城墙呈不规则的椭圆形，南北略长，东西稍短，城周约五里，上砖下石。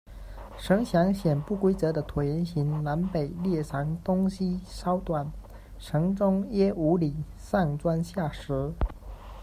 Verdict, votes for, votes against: rejected, 0, 2